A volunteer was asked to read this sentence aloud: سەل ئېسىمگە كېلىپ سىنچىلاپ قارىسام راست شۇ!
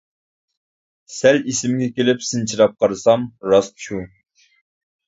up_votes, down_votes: 2, 0